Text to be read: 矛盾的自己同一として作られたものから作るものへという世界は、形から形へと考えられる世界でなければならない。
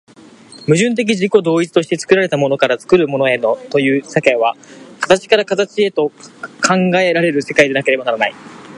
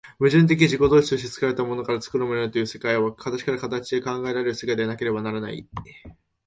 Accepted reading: first